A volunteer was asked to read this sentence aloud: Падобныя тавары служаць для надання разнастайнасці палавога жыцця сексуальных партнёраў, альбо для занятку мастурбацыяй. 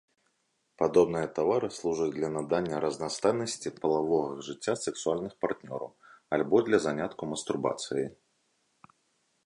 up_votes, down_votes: 2, 0